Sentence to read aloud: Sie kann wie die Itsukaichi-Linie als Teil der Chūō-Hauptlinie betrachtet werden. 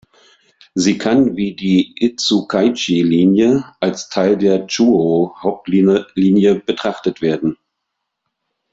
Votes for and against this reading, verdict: 1, 2, rejected